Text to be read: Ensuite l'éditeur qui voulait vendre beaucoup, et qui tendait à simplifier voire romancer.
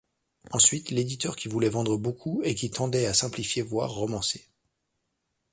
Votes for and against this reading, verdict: 2, 0, accepted